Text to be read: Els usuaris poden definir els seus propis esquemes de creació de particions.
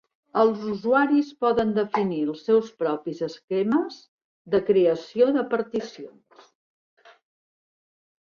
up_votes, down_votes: 3, 0